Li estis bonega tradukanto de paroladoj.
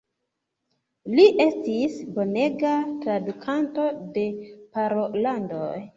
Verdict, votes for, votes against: rejected, 1, 2